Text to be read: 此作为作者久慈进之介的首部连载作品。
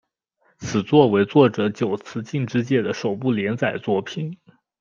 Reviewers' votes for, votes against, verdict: 2, 0, accepted